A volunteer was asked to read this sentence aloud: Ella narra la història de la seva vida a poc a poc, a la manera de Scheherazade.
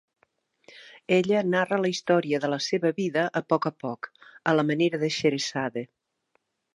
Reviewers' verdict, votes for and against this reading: accepted, 2, 0